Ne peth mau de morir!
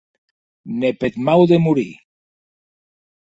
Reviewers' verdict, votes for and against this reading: accepted, 2, 0